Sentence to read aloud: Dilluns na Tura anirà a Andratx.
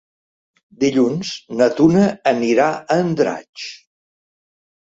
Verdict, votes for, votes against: rejected, 1, 2